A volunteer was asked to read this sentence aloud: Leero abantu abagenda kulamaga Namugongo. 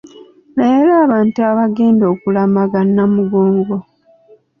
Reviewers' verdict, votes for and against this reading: rejected, 1, 2